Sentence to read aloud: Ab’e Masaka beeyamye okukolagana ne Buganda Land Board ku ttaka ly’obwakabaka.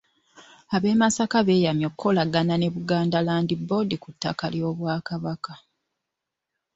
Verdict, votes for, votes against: accepted, 2, 0